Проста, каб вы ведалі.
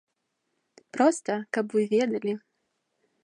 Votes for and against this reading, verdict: 2, 0, accepted